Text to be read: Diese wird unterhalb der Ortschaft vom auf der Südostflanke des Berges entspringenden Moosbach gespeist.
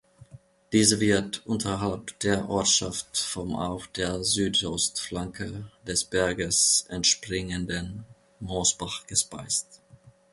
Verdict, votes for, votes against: accepted, 3, 0